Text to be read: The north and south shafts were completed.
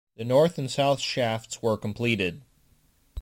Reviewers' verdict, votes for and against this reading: accepted, 2, 0